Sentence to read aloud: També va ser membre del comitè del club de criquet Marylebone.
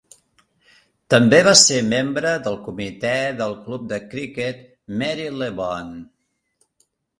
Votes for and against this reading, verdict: 2, 0, accepted